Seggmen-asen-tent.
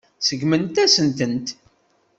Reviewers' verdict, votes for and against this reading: rejected, 1, 2